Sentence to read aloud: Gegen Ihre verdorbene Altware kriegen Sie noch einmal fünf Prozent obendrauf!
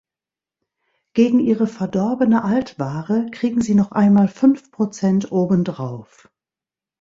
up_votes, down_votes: 2, 0